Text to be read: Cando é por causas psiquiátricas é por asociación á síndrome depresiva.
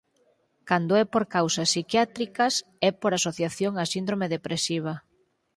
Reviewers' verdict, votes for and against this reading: accepted, 6, 0